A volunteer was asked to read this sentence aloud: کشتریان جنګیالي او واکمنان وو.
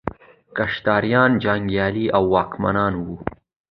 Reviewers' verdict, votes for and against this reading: accepted, 2, 0